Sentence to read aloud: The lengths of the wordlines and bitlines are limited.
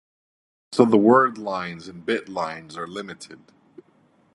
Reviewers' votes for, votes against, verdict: 1, 2, rejected